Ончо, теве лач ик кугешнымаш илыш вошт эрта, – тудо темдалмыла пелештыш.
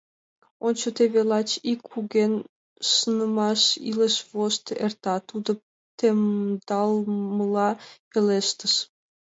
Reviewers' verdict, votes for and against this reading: rejected, 0, 2